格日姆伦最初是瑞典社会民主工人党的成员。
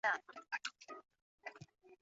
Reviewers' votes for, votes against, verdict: 3, 2, accepted